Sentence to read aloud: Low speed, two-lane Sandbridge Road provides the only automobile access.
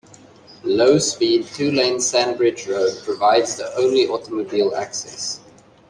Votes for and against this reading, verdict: 2, 0, accepted